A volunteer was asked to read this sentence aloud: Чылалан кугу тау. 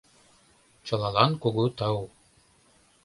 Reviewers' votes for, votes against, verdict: 2, 0, accepted